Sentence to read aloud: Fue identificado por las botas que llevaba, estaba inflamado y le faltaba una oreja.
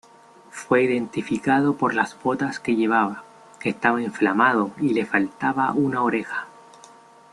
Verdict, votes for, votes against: rejected, 1, 2